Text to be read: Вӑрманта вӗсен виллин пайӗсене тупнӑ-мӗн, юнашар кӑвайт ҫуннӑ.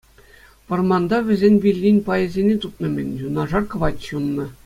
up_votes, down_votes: 2, 0